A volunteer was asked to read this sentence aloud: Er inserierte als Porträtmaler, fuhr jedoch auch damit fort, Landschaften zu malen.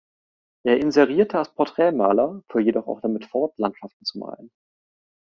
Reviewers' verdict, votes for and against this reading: accepted, 3, 0